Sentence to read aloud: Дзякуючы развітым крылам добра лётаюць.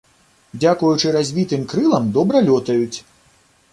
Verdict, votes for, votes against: accepted, 2, 0